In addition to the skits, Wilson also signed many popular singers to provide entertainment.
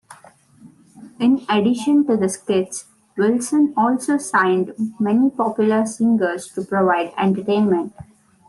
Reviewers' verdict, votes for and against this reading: accepted, 2, 0